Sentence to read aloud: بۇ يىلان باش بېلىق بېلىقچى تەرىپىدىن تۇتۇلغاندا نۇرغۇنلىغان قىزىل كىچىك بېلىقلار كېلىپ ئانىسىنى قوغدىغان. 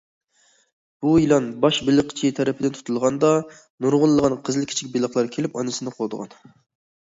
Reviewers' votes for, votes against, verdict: 1, 2, rejected